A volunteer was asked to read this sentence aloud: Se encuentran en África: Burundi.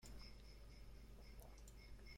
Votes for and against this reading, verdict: 0, 2, rejected